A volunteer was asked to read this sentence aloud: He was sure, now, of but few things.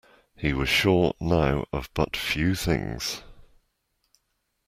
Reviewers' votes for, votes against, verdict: 2, 0, accepted